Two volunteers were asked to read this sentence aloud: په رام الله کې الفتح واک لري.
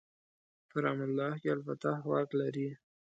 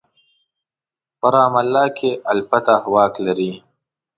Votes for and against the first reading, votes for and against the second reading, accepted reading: 1, 2, 2, 0, second